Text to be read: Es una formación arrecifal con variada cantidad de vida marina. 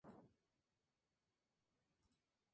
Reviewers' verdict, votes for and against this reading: rejected, 0, 2